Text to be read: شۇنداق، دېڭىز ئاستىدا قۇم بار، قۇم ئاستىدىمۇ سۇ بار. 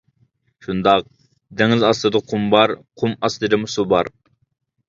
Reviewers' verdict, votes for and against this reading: accepted, 2, 0